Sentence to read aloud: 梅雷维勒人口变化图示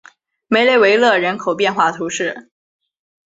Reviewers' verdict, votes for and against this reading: accepted, 5, 0